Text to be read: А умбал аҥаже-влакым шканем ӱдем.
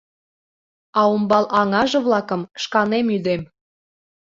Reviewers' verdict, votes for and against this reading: accepted, 2, 0